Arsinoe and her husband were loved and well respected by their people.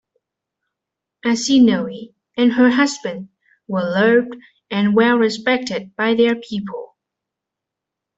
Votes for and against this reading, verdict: 0, 2, rejected